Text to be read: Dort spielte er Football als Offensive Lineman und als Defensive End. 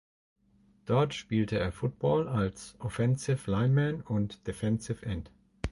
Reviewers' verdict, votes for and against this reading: rejected, 0, 2